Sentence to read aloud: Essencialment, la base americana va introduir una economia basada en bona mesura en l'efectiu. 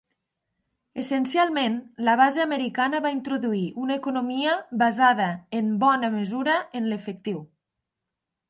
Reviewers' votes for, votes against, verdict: 2, 0, accepted